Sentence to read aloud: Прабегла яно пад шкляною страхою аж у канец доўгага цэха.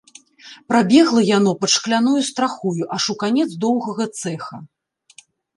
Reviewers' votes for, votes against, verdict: 2, 0, accepted